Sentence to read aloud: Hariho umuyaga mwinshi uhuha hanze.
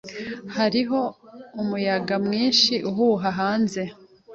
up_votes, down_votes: 2, 0